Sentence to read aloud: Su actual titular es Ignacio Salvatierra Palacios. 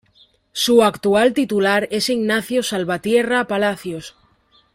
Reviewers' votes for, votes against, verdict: 2, 0, accepted